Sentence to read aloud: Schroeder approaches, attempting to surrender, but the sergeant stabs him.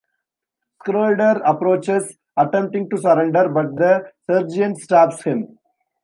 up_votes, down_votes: 1, 2